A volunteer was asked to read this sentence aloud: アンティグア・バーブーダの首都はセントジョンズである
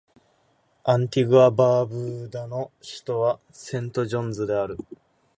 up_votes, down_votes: 2, 2